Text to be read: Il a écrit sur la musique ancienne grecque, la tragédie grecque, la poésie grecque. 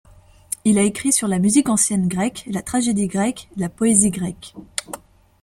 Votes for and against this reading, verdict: 2, 0, accepted